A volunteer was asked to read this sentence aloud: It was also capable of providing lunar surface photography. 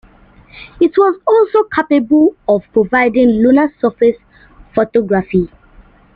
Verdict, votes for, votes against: rejected, 0, 2